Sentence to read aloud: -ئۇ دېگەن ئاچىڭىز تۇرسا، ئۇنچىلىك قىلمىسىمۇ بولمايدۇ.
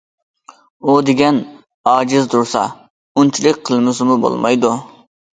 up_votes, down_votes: 0, 2